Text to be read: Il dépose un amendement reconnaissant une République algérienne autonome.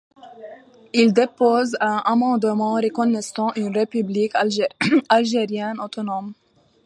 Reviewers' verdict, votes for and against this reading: rejected, 0, 2